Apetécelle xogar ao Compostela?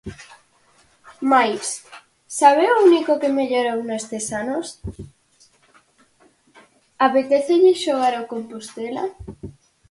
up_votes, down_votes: 0, 4